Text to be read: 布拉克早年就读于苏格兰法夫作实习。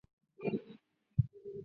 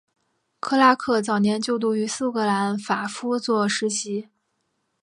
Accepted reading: second